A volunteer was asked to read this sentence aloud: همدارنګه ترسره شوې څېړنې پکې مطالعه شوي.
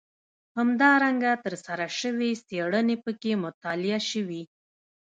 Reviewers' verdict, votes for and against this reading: accepted, 2, 0